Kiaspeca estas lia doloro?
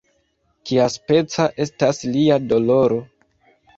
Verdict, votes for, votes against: accepted, 2, 0